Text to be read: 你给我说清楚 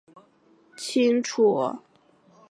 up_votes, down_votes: 0, 4